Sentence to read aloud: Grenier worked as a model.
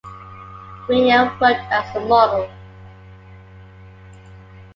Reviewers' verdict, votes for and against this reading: accepted, 2, 0